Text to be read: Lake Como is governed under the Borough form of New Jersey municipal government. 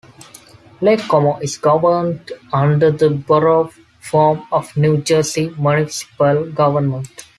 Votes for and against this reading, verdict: 2, 0, accepted